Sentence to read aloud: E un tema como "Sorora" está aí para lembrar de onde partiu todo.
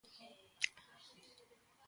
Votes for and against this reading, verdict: 0, 2, rejected